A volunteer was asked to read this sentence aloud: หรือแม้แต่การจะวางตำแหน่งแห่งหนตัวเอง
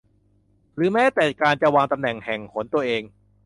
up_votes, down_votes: 2, 0